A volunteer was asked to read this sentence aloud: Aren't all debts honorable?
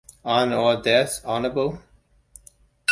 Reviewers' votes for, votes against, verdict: 1, 2, rejected